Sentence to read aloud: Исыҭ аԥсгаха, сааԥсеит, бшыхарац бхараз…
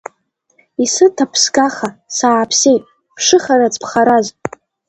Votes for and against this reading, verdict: 2, 0, accepted